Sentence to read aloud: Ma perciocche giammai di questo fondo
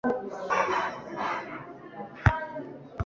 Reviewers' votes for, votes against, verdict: 0, 2, rejected